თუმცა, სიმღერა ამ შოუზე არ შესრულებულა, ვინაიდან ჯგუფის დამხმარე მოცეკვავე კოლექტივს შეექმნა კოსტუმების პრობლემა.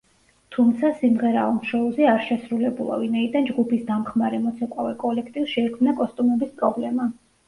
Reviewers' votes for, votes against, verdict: 2, 0, accepted